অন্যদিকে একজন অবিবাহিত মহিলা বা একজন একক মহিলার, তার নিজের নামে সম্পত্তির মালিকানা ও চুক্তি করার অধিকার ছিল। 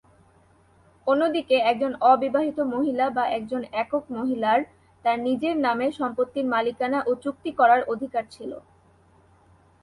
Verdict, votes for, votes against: rejected, 2, 2